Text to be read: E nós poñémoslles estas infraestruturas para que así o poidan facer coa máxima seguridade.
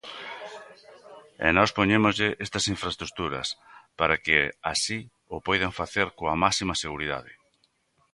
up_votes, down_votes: 1, 3